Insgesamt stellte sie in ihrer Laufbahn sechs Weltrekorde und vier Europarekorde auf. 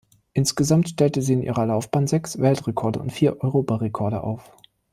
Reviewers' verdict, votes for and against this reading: accepted, 2, 0